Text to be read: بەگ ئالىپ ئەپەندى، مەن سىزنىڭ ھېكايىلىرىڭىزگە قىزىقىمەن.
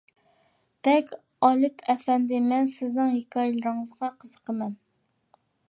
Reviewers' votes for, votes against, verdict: 0, 2, rejected